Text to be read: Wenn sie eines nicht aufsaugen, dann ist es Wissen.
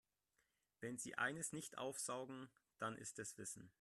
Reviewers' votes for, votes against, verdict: 1, 2, rejected